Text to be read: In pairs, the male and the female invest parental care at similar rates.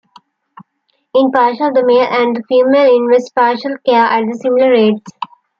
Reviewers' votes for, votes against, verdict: 2, 1, accepted